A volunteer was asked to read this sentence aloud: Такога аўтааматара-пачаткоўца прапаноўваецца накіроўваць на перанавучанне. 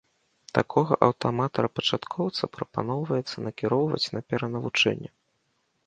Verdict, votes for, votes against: rejected, 1, 2